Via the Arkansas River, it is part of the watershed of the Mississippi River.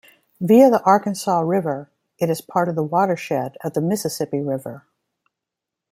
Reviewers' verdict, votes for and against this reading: accepted, 2, 0